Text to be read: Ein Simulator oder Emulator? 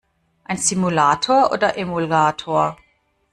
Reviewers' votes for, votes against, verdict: 2, 1, accepted